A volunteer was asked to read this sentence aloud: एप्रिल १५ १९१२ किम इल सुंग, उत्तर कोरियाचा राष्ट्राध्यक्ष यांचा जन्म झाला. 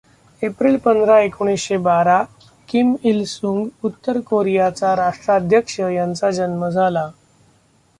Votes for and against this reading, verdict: 0, 2, rejected